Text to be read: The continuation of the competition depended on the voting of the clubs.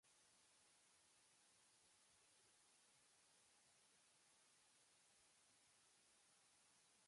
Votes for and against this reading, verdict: 0, 2, rejected